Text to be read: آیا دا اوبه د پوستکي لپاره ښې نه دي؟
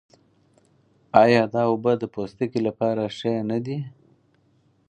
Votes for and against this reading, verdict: 4, 0, accepted